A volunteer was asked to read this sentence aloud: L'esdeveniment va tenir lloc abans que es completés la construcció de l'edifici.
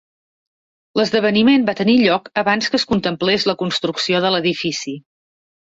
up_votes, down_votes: 1, 2